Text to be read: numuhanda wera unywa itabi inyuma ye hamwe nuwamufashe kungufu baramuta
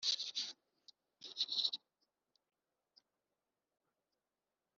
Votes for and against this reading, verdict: 2, 1, accepted